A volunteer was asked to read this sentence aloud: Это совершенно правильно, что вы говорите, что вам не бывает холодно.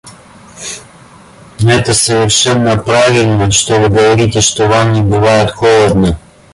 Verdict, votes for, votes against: rejected, 0, 2